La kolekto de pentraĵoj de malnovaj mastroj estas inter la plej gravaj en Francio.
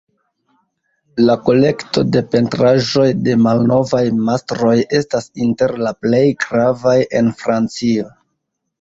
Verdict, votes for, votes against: accepted, 2, 0